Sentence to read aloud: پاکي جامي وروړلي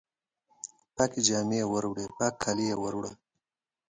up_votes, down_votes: 0, 2